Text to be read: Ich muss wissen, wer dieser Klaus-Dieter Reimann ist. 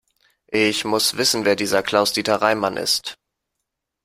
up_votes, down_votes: 2, 0